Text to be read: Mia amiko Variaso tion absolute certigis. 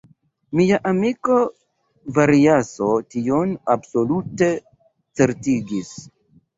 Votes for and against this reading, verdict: 2, 1, accepted